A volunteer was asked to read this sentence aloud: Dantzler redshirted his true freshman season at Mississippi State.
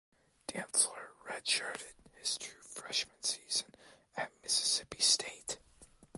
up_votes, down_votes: 2, 1